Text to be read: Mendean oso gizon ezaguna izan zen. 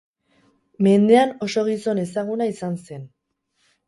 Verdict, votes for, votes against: accepted, 6, 0